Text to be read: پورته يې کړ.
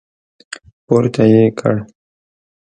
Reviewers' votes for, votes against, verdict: 2, 0, accepted